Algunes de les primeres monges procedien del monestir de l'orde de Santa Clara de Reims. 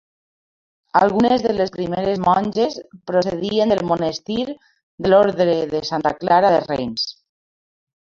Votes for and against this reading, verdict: 1, 2, rejected